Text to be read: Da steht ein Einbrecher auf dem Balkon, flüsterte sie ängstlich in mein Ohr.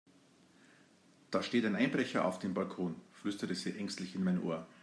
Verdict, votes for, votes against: accepted, 2, 0